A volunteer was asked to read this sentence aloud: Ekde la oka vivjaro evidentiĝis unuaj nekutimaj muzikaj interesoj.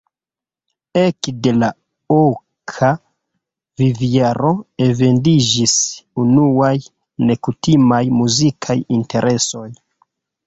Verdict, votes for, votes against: rejected, 1, 2